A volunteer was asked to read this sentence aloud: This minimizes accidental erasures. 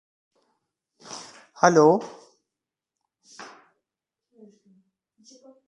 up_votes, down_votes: 0, 2